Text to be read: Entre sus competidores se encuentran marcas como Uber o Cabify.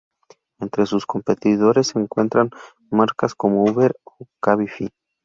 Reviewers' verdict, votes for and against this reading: rejected, 0, 2